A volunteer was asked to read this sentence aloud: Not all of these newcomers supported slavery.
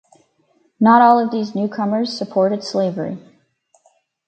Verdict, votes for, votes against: accepted, 2, 0